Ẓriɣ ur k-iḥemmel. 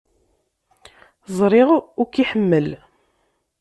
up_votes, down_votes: 1, 2